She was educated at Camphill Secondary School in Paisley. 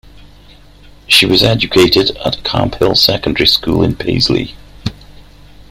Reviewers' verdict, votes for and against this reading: accepted, 2, 0